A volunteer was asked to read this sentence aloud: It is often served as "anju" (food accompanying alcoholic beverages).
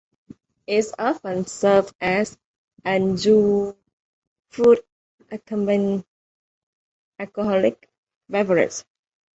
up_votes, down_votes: 0, 2